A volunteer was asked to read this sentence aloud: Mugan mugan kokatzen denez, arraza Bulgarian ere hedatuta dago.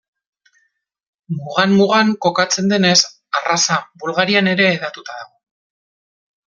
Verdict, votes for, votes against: accepted, 2, 0